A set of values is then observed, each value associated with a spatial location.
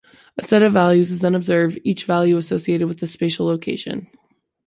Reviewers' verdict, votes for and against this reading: accepted, 2, 0